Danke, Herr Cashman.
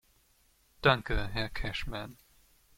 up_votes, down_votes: 2, 0